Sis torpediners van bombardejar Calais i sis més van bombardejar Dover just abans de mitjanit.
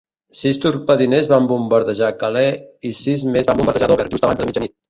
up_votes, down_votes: 0, 2